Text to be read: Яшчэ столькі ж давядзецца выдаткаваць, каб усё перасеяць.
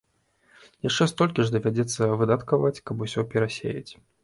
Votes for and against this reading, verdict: 2, 1, accepted